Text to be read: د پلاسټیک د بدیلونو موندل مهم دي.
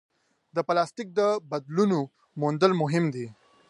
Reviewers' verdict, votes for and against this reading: rejected, 2, 3